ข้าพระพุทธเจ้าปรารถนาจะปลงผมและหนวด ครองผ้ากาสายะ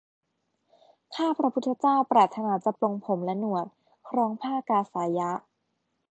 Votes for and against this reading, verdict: 1, 2, rejected